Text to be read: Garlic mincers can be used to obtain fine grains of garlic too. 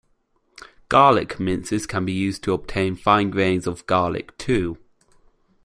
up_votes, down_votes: 2, 1